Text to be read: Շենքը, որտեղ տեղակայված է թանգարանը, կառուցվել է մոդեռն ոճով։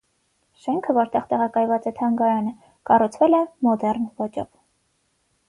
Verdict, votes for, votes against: rejected, 3, 3